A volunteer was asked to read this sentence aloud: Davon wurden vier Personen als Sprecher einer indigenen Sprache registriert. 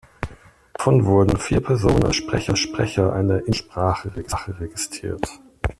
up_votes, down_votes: 0, 2